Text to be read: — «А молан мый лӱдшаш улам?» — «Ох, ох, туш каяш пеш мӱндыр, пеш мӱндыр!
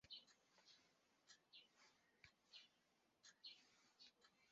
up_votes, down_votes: 0, 2